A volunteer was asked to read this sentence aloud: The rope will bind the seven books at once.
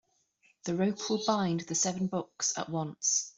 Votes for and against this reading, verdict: 2, 1, accepted